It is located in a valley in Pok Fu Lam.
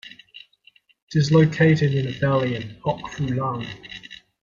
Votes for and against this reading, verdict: 2, 0, accepted